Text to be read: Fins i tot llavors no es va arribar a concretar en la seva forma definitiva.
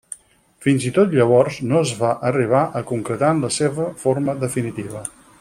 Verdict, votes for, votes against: accepted, 6, 0